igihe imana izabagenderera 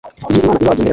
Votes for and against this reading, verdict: 1, 2, rejected